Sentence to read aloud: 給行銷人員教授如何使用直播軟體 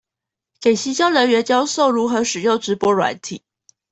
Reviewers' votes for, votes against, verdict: 2, 0, accepted